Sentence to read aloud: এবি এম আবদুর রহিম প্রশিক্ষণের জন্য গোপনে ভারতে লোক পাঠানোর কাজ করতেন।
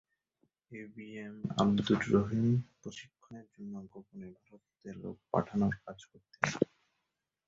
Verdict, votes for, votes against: rejected, 0, 2